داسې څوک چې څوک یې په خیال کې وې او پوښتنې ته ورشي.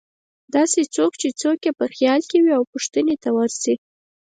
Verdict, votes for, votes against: accepted, 4, 0